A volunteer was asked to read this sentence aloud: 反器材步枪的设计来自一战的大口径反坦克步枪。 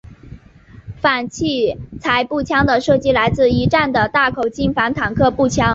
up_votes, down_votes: 0, 2